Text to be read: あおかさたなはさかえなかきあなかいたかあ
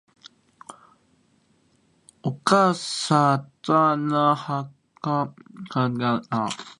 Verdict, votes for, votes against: rejected, 1, 2